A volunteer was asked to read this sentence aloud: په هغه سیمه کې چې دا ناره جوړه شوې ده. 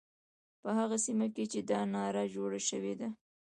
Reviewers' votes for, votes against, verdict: 2, 0, accepted